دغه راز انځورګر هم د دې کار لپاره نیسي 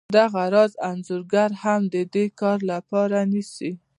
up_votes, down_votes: 2, 0